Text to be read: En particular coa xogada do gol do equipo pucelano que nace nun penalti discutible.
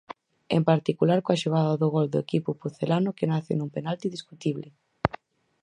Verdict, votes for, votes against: accepted, 4, 0